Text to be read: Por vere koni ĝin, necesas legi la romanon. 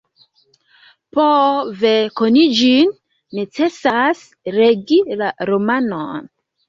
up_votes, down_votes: 1, 2